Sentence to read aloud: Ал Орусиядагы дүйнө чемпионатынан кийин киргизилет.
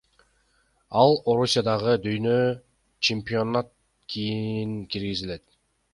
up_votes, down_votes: 0, 2